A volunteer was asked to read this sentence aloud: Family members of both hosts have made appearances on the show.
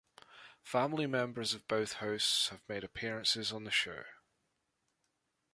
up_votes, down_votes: 2, 0